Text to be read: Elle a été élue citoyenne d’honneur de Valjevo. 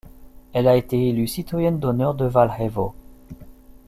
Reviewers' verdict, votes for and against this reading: rejected, 1, 2